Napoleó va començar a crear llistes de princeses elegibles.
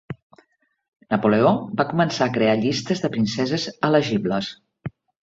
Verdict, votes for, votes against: accepted, 3, 0